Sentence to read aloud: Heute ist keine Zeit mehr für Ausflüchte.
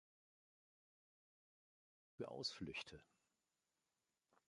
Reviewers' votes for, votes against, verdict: 0, 2, rejected